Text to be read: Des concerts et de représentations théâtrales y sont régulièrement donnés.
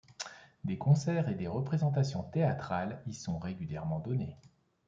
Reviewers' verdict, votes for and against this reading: rejected, 1, 2